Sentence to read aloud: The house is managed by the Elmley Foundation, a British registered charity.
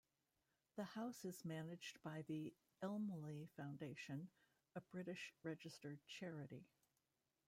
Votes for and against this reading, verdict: 2, 0, accepted